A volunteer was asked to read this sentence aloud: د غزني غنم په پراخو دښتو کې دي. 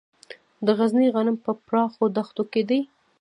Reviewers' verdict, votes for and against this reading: accepted, 2, 0